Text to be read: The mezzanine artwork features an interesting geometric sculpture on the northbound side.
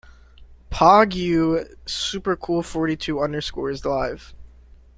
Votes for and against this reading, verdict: 0, 2, rejected